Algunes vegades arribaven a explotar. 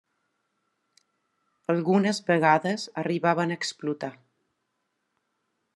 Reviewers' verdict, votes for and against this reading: accepted, 3, 0